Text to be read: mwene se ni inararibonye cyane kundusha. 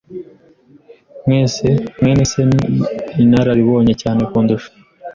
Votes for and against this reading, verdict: 1, 2, rejected